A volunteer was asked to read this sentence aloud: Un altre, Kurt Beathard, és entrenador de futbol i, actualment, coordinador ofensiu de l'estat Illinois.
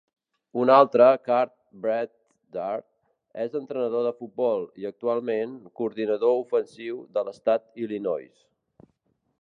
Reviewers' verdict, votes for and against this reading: rejected, 1, 2